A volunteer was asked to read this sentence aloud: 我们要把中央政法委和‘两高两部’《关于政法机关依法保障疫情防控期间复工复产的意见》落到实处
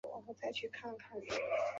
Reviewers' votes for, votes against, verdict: 0, 3, rejected